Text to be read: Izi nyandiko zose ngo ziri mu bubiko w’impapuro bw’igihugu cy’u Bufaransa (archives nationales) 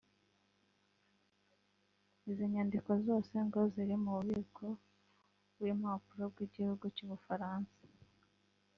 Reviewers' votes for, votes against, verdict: 2, 3, rejected